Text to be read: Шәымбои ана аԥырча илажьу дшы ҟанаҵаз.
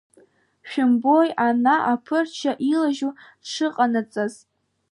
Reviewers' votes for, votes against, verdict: 2, 0, accepted